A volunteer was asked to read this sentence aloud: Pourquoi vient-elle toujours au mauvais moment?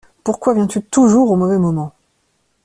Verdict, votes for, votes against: rejected, 0, 2